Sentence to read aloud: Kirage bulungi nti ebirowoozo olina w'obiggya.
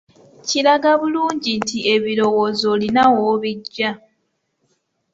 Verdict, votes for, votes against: rejected, 0, 2